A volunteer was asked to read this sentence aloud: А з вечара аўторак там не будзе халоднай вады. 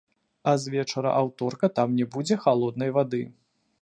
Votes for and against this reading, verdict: 0, 2, rejected